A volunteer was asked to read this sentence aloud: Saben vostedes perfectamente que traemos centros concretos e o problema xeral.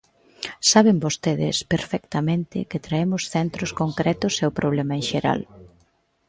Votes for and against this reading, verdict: 0, 2, rejected